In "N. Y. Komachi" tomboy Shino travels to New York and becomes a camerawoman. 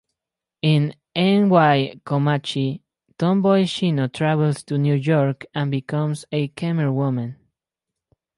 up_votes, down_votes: 2, 2